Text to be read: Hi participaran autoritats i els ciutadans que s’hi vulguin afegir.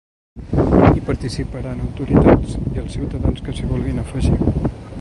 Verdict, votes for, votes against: rejected, 0, 2